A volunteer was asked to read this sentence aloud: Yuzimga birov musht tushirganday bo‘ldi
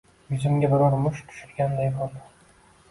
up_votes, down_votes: 2, 0